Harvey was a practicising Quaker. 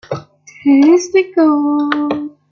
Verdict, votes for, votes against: rejected, 0, 2